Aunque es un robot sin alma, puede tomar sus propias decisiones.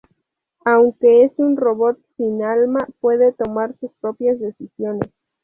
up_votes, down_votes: 2, 0